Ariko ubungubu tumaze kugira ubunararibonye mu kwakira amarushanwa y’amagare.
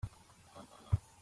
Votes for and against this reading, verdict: 0, 2, rejected